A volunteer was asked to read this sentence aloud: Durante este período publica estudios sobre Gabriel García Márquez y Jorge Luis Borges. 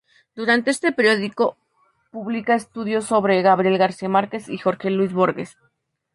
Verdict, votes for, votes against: rejected, 0, 2